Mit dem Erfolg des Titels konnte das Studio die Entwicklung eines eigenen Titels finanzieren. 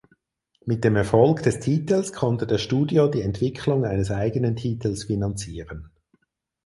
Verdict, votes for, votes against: accepted, 4, 0